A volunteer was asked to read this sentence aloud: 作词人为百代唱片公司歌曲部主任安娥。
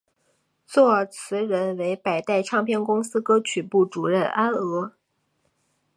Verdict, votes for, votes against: accepted, 3, 0